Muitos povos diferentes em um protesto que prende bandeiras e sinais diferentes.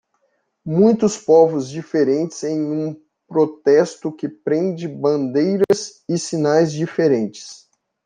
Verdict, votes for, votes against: rejected, 1, 2